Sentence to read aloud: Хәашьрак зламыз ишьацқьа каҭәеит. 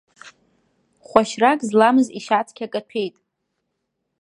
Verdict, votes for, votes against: accepted, 2, 0